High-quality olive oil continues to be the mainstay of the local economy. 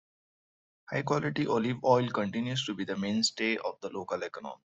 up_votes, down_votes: 1, 2